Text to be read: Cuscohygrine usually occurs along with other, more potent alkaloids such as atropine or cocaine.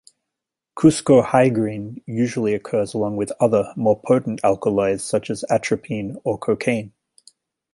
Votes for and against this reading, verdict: 1, 2, rejected